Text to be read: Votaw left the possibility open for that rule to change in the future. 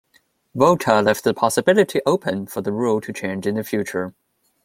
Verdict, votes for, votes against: rejected, 0, 2